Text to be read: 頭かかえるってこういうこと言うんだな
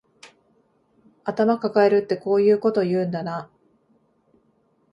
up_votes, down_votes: 2, 0